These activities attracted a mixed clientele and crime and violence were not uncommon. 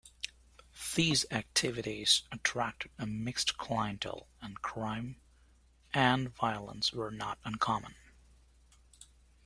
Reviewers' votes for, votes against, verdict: 0, 2, rejected